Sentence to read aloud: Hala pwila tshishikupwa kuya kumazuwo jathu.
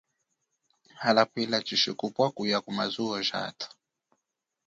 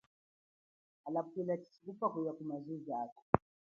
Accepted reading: first